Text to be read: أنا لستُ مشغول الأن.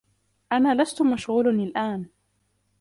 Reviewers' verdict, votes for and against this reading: rejected, 0, 2